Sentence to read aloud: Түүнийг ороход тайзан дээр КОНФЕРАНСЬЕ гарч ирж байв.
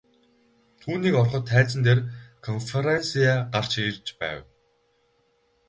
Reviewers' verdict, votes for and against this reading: rejected, 0, 2